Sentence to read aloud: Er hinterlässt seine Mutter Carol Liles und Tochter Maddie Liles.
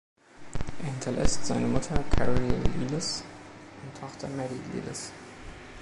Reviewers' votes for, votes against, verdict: 0, 2, rejected